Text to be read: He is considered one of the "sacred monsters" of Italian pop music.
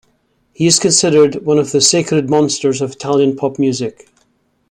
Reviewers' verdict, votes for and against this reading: accepted, 2, 0